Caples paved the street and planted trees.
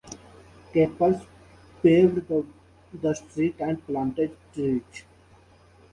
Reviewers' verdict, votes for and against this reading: rejected, 1, 2